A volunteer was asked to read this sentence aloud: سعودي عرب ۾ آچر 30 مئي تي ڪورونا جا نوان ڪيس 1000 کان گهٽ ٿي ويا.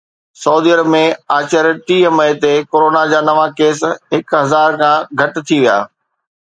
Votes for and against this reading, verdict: 0, 2, rejected